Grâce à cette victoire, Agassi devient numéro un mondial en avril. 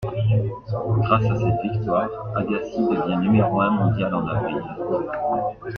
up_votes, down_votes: 2, 1